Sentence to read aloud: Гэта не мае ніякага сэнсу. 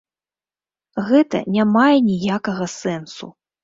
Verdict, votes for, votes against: accepted, 2, 0